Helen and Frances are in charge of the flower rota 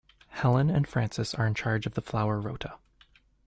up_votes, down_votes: 2, 0